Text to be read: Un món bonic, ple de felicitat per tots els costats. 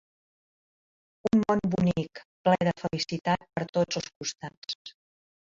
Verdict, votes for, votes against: rejected, 0, 2